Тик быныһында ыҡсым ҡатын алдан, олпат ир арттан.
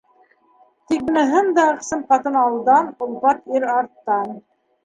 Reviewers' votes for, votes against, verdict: 1, 2, rejected